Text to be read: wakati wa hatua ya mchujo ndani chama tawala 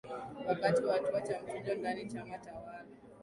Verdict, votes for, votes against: rejected, 2, 3